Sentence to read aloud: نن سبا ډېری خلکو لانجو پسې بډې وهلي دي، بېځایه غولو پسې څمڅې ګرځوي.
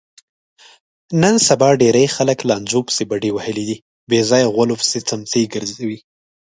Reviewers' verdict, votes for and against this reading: rejected, 0, 2